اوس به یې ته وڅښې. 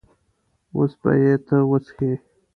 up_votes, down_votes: 2, 0